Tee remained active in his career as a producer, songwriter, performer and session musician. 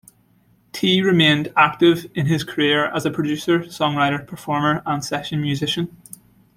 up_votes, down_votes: 2, 0